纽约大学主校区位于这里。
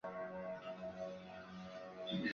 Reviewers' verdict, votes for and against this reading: rejected, 0, 5